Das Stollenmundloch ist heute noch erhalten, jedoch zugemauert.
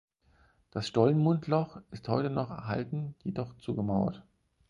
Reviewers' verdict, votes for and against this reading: accepted, 4, 0